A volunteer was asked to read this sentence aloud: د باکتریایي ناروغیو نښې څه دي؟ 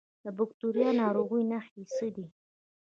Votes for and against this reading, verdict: 1, 2, rejected